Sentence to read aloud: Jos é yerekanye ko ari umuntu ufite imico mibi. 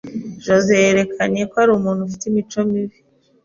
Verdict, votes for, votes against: accepted, 3, 0